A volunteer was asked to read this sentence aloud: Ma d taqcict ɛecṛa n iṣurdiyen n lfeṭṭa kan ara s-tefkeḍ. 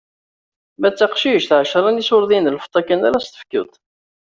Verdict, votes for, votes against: accepted, 2, 0